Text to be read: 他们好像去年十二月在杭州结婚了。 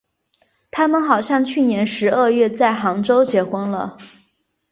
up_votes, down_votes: 3, 0